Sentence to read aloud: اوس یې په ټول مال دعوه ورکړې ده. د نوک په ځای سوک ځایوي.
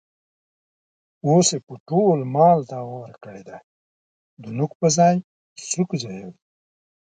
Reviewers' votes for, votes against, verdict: 2, 1, accepted